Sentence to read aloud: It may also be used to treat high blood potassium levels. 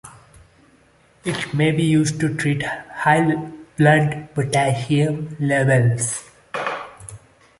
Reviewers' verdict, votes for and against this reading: rejected, 0, 2